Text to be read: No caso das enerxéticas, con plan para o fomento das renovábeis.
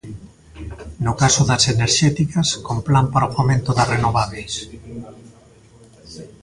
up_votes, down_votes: 1, 2